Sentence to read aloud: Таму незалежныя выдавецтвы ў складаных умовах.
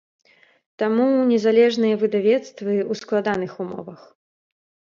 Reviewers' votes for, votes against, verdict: 2, 0, accepted